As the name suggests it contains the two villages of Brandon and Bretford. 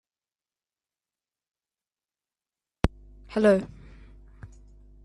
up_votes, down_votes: 0, 2